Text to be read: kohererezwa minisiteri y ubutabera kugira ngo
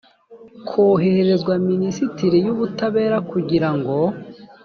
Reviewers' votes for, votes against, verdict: 1, 2, rejected